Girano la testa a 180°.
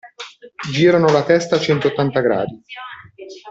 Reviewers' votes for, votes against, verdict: 0, 2, rejected